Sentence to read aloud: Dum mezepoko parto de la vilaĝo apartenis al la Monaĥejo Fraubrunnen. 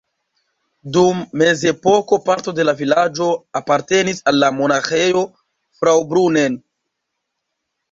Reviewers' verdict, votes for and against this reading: accepted, 2, 0